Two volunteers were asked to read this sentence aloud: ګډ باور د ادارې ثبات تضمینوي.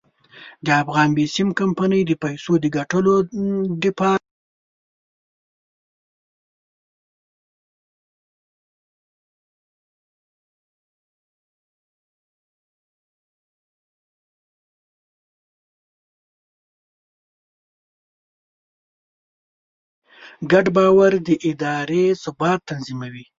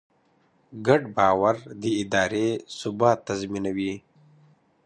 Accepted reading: second